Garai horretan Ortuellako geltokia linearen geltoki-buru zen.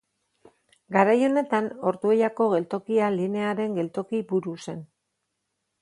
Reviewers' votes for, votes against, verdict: 2, 2, rejected